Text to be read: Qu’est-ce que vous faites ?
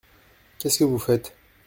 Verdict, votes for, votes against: accepted, 2, 0